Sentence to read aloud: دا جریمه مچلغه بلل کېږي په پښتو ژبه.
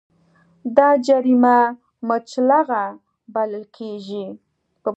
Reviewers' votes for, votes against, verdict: 2, 0, accepted